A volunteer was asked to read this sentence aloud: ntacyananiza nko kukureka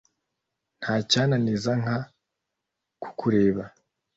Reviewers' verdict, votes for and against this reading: rejected, 0, 2